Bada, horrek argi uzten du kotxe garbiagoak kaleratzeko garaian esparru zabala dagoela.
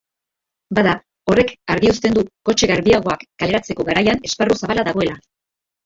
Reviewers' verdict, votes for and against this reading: rejected, 1, 2